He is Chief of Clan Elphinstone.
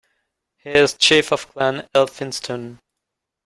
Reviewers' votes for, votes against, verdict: 1, 2, rejected